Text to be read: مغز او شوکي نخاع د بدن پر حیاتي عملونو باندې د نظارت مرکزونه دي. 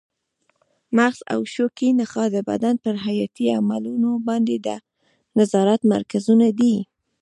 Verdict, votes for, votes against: rejected, 1, 2